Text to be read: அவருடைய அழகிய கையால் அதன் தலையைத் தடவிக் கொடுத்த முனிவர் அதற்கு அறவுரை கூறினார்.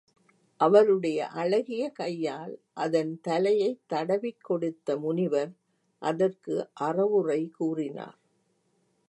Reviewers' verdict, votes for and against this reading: accepted, 3, 0